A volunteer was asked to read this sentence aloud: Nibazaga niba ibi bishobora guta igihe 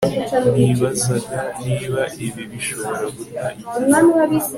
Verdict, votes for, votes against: accepted, 2, 0